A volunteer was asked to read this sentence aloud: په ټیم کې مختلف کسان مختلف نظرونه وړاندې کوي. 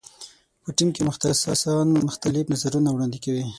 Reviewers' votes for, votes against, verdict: 6, 9, rejected